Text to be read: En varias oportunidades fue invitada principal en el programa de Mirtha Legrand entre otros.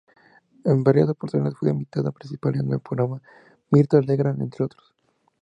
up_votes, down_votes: 0, 4